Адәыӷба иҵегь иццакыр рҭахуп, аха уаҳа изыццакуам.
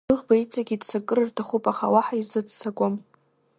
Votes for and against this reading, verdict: 1, 2, rejected